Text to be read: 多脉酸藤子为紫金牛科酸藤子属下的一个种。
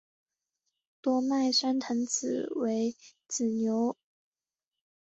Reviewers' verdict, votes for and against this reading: rejected, 0, 2